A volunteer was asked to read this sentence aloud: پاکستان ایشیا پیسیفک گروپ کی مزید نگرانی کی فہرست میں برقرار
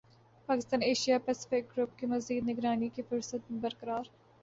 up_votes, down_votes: 3, 0